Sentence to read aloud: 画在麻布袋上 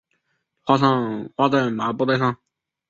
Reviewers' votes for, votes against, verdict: 0, 3, rejected